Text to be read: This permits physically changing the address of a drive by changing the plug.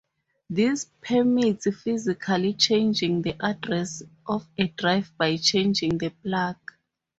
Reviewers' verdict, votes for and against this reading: accepted, 2, 0